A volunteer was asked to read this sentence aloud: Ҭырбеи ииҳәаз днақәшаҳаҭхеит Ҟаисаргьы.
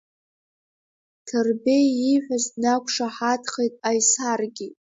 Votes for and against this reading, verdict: 1, 2, rejected